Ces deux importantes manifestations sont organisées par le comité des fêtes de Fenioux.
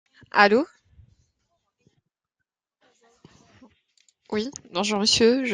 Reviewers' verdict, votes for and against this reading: rejected, 0, 3